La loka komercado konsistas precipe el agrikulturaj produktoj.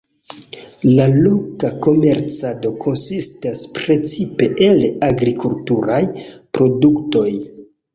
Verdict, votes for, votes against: accepted, 2, 1